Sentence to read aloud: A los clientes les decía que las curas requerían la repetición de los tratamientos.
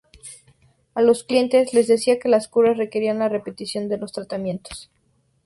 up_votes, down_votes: 2, 0